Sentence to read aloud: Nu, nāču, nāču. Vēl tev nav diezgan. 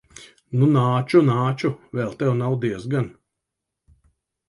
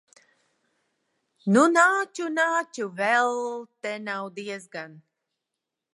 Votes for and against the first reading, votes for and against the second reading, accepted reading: 2, 0, 0, 2, first